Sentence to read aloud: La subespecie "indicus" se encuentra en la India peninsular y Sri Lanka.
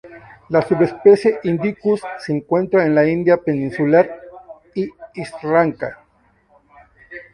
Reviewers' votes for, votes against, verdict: 0, 2, rejected